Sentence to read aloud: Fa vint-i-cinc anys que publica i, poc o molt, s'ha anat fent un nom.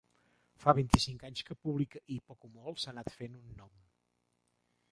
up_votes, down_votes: 1, 2